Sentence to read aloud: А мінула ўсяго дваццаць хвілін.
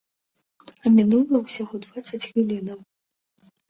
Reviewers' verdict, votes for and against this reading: rejected, 1, 3